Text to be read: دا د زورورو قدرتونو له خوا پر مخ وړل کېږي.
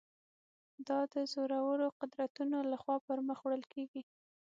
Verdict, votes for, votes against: accepted, 6, 0